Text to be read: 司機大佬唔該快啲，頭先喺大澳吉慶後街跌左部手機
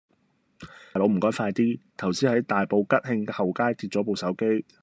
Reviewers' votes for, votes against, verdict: 1, 2, rejected